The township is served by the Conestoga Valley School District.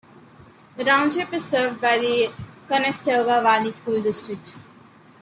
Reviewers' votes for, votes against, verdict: 2, 0, accepted